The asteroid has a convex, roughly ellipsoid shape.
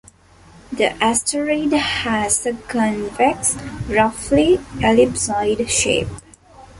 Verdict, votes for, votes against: accepted, 2, 0